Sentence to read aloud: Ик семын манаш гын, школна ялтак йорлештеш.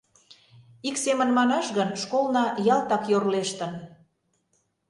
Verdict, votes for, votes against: rejected, 0, 2